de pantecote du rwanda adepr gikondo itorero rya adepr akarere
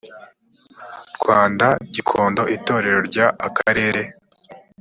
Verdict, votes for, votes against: rejected, 0, 2